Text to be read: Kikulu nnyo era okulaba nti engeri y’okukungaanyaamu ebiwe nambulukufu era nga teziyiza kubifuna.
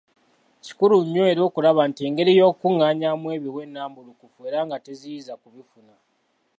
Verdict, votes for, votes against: accepted, 2, 0